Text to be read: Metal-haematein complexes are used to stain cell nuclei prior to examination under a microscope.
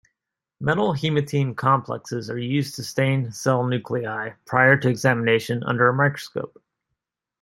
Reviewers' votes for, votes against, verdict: 2, 0, accepted